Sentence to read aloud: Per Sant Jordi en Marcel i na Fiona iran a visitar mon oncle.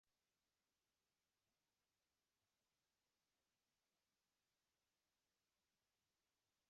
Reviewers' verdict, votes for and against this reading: rejected, 0, 3